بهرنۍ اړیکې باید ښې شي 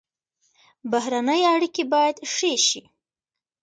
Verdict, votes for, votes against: rejected, 0, 2